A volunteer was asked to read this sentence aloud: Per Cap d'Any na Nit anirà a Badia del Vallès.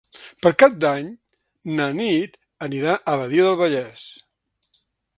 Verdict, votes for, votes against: accepted, 4, 1